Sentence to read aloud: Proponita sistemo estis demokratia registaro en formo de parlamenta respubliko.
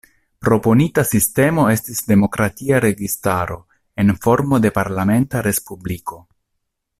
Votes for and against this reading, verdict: 2, 0, accepted